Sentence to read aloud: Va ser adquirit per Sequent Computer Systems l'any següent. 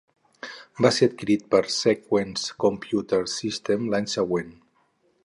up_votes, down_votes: 4, 0